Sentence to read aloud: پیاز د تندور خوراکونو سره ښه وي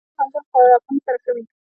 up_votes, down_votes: 1, 2